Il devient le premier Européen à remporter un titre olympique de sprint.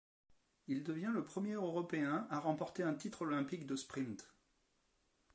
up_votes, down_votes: 1, 2